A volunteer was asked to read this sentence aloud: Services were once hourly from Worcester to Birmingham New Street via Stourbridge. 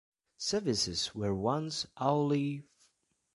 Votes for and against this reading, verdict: 0, 2, rejected